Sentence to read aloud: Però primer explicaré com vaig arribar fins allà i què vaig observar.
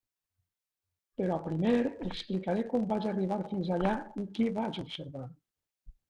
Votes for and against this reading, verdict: 0, 2, rejected